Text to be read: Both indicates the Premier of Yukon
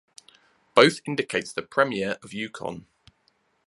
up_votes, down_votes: 2, 1